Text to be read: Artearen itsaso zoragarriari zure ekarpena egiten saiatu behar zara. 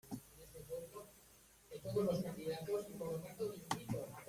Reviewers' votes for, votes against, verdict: 0, 2, rejected